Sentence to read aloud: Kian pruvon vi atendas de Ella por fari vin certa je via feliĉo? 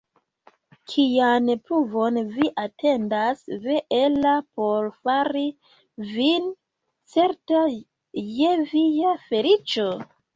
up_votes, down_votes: 0, 2